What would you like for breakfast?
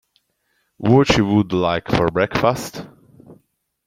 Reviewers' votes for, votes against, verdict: 0, 2, rejected